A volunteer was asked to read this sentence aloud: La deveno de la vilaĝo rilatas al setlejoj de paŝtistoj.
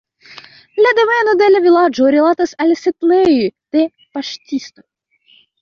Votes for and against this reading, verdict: 0, 3, rejected